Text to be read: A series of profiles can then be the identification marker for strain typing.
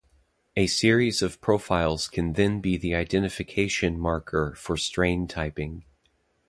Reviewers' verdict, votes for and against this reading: rejected, 1, 2